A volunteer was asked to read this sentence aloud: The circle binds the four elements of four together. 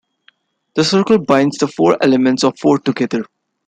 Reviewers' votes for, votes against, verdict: 2, 0, accepted